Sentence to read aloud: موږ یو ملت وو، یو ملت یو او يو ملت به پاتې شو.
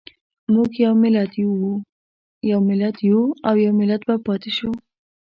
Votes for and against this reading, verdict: 1, 2, rejected